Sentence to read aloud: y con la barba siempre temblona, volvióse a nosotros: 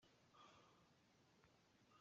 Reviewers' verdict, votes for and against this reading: rejected, 0, 2